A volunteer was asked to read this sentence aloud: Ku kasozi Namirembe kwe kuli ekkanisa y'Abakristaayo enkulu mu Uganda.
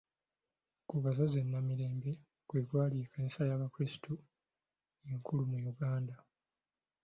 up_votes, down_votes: 0, 2